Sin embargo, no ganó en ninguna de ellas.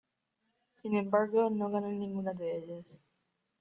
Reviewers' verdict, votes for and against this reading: rejected, 1, 2